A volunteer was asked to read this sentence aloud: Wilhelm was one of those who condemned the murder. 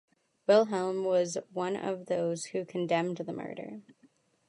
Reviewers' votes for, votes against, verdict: 2, 0, accepted